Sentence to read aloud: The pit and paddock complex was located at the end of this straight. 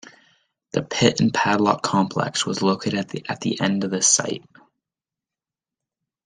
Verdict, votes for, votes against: rejected, 0, 2